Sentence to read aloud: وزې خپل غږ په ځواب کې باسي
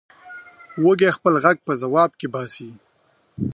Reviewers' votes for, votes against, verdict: 1, 2, rejected